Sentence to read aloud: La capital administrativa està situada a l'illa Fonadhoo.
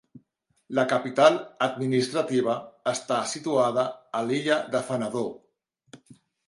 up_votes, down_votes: 1, 2